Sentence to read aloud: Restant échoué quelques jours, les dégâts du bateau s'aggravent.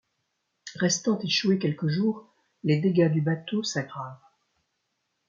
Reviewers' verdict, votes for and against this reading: accepted, 2, 0